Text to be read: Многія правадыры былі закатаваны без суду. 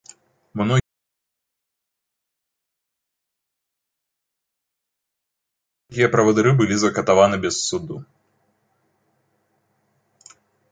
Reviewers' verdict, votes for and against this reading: rejected, 1, 3